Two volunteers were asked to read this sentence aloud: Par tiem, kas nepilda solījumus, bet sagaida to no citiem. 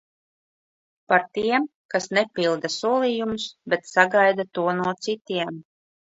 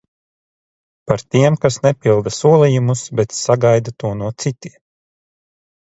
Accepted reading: first